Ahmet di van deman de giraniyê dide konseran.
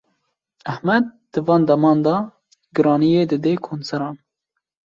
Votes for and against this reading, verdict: 2, 1, accepted